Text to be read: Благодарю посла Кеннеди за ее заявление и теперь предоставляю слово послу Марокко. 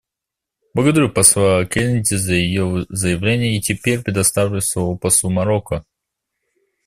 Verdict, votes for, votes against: accepted, 2, 1